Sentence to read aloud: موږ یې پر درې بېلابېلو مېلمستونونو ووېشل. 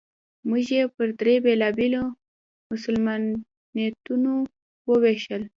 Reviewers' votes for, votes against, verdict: 1, 2, rejected